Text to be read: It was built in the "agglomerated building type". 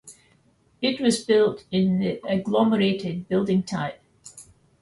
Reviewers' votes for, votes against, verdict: 2, 0, accepted